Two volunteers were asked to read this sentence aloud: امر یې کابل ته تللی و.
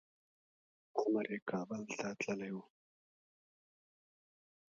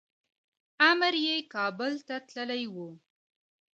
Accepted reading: second